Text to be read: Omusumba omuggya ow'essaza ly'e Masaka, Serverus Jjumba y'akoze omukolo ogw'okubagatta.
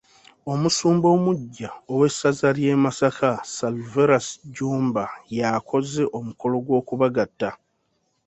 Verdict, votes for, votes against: rejected, 1, 2